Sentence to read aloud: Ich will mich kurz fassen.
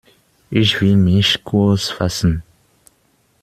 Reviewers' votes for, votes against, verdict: 1, 2, rejected